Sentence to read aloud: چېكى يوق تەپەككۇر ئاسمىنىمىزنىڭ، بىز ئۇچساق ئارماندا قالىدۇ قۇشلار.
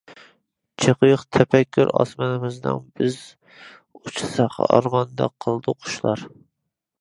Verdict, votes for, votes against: rejected, 1, 2